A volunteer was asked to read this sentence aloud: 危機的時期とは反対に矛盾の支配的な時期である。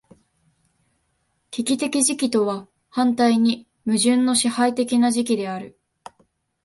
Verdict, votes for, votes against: accepted, 2, 0